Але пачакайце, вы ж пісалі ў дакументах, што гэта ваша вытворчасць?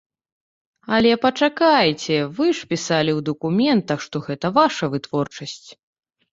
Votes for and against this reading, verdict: 2, 0, accepted